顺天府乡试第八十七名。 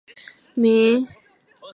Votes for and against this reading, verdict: 0, 2, rejected